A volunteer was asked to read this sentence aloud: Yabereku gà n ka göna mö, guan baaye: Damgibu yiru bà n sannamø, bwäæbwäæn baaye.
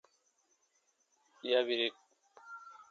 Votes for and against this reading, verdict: 0, 2, rejected